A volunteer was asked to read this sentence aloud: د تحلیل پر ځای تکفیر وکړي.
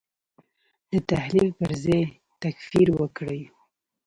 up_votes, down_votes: 0, 2